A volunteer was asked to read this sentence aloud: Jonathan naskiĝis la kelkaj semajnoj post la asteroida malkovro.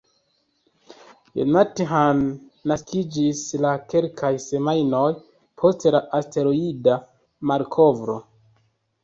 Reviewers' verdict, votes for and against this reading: accepted, 2, 1